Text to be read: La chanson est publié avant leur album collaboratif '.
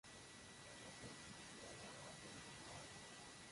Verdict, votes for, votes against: rejected, 0, 2